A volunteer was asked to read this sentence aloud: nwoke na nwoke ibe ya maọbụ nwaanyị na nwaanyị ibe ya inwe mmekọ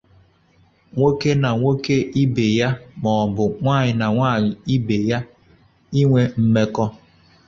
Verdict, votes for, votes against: accepted, 2, 0